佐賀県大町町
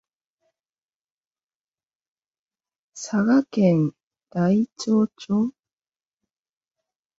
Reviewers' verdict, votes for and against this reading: rejected, 0, 2